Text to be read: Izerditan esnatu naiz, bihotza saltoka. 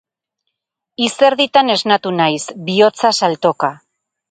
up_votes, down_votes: 0, 2